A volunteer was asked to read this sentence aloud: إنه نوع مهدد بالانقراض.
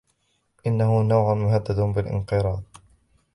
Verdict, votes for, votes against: rejected, 1, 2